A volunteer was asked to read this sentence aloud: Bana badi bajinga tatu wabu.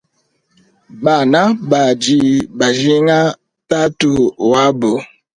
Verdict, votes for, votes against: rejected, 0, 2